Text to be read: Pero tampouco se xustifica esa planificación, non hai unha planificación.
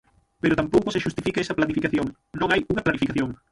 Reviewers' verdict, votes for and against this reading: rejected, 0, 6